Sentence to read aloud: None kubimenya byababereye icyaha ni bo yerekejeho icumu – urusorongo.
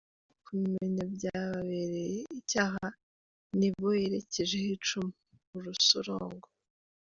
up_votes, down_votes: 1, 2